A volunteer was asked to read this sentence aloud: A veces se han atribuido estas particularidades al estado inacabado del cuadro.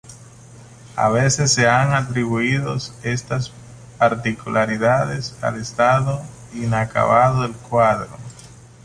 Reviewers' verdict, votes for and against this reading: rejected, 1, 2